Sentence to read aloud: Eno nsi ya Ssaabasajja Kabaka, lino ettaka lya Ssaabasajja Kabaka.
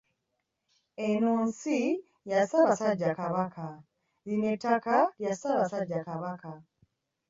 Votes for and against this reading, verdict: 1, 2, rejected